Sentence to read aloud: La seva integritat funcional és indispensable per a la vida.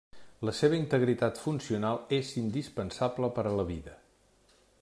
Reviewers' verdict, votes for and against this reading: accepted, 3, 0